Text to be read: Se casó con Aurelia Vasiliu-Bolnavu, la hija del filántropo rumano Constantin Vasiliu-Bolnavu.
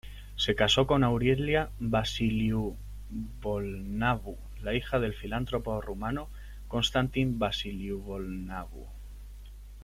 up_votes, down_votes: 2, 0